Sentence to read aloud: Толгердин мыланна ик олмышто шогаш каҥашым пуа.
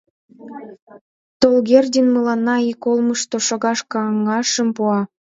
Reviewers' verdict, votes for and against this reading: accepted, 3, 0